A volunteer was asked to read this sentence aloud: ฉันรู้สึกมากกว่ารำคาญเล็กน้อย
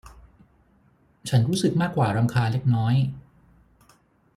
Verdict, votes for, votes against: accepted, 6, 0